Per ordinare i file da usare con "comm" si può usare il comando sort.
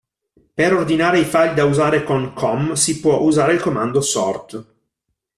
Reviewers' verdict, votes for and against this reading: accepted, 2, 0